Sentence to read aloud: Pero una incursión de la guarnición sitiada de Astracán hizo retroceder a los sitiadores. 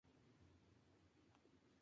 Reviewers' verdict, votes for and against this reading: rejected, 0, 2